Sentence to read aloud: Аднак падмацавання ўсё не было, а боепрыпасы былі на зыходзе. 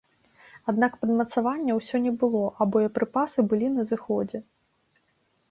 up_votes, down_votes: 2, 0